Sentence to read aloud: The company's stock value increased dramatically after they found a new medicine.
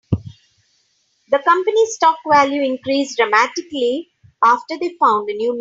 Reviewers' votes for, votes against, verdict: 0, 3, rejected